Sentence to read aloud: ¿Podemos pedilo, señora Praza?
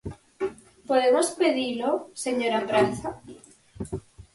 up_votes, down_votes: 4, 0